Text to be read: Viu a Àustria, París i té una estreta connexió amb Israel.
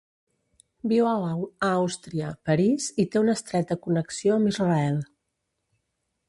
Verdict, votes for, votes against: rejected, 1, 2